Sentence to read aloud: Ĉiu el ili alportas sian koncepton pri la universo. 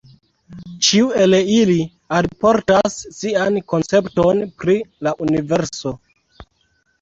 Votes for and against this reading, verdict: 2, 0, accepted